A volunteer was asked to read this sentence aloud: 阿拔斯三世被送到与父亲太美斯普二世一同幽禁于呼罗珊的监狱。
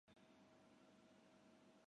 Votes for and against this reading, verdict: 0, 2, rejected